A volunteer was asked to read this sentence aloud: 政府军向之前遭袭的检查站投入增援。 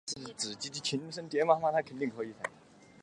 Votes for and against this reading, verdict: 0, 2, rejected